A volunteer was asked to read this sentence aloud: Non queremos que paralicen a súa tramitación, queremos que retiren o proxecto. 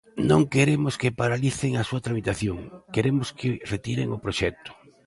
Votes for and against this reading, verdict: 2, 0, accepted